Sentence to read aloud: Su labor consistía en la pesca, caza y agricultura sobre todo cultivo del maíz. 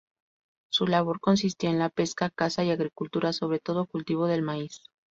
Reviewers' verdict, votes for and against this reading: rejected, 0, 2